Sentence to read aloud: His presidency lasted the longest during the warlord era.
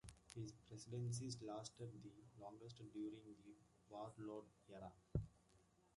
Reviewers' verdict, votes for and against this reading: accepted, 2, 1